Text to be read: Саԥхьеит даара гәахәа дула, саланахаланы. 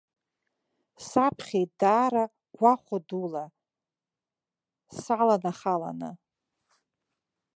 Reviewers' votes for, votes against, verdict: 1, 2, rejected